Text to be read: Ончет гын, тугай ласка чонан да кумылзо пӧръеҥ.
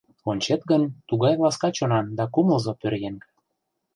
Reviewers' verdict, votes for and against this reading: rejected, 1, 2